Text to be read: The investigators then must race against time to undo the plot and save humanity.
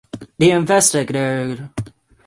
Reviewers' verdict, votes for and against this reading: rejected, 0, 6